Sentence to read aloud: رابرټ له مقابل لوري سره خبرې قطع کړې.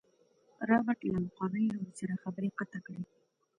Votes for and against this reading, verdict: 2, 1, accepted